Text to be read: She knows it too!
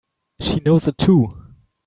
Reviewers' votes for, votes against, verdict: 2, 3, rejected